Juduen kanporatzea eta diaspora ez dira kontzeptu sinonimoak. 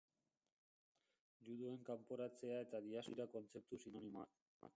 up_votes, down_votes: 1, 2